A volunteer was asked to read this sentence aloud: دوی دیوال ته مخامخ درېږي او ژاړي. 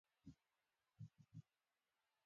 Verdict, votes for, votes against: rejected, 0, 2